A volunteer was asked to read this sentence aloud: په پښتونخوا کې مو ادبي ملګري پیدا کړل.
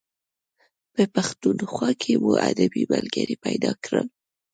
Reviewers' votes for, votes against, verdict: 2, 0, accepted